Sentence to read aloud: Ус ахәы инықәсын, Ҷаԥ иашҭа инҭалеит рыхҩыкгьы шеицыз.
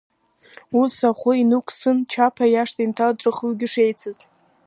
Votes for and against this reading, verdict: 1, 2, rejected